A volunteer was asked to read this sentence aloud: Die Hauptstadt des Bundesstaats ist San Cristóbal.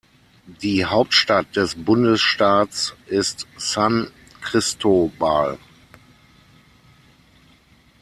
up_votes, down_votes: 6, 0